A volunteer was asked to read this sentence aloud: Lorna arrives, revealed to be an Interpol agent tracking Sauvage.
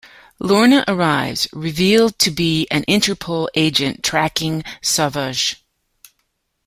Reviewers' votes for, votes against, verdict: 2, 0, accepted